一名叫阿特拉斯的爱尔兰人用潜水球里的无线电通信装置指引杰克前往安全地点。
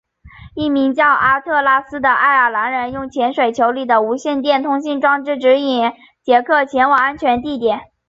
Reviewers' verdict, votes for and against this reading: accepted, 3, 1